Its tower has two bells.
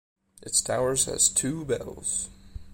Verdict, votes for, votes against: accepted, 2, 0